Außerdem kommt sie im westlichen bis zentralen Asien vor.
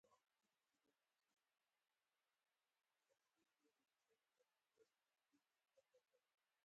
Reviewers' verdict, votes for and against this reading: rejected, 0, 4